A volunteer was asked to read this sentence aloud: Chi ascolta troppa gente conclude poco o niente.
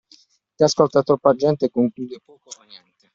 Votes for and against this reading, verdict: 0, 2, rejected